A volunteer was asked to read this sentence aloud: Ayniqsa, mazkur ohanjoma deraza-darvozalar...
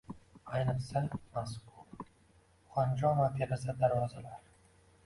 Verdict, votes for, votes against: rejected, 1, 2